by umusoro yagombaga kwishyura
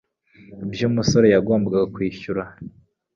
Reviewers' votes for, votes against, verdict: 0, 2, rejected